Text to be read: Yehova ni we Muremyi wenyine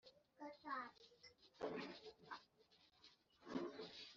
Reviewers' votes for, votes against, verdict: 1, 3, rejected